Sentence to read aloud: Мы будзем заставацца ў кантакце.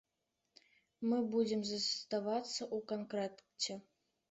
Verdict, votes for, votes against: accepted, 2, 0